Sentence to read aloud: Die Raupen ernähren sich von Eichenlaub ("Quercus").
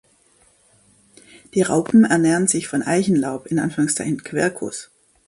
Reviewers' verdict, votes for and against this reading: rejected, 0, 2